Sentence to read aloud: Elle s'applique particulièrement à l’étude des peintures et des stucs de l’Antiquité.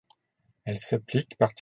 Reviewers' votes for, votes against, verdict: 0, 2, rejected